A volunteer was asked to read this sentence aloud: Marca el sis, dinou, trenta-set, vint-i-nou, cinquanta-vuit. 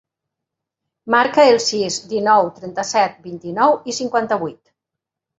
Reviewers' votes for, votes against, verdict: 3, 1, accepted